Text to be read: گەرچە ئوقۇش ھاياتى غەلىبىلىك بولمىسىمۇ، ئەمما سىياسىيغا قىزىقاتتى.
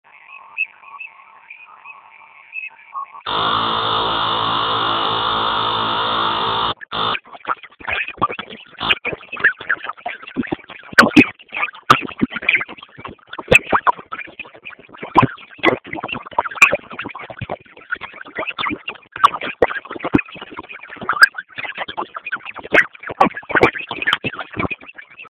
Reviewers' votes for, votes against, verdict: 0, 2, rejected